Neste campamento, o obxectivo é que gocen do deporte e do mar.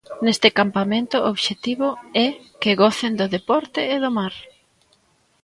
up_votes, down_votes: 2, 0